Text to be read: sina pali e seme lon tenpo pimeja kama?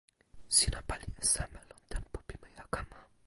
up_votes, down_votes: 1, 2